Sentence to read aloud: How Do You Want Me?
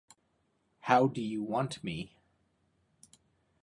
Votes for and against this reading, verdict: 2, 0, accepted